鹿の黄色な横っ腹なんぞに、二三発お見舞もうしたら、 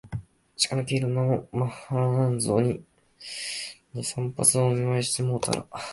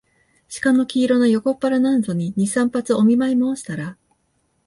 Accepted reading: second